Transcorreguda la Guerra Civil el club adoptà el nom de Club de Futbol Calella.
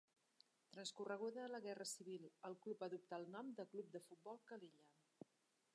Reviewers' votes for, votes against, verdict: 1, 2, rejected